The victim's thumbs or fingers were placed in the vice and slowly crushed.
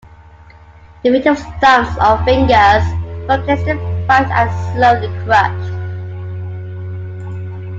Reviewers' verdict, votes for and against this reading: rejected, 1, 3